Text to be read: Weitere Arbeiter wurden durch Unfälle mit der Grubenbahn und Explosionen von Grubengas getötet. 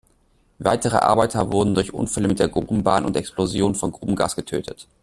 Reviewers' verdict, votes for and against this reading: rejected, 0, 2